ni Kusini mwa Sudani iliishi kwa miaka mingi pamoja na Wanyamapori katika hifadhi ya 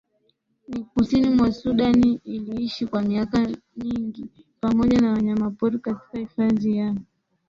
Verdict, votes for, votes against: rejected, 1, 2